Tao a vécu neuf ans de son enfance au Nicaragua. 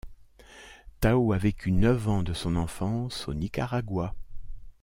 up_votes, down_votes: 2, 0